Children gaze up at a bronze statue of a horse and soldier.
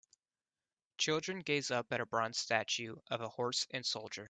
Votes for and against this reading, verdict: 2, 0, accepted